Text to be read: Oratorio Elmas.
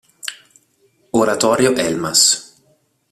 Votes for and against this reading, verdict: 2, 0, accepted